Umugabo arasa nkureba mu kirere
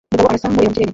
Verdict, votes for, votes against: rejected, 0, 2